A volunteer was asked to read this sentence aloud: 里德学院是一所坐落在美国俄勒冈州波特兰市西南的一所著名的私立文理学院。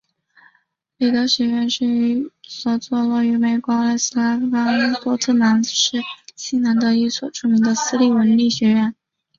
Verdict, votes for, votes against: rejected, 1, 2